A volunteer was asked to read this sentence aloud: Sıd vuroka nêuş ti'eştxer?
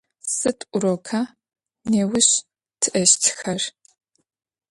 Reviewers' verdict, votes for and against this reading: rejected, 1, 3